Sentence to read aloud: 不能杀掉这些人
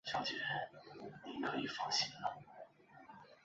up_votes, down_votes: 1, 3